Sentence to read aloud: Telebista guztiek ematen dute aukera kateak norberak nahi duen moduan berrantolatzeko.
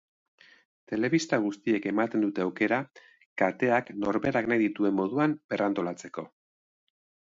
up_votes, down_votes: 1, 2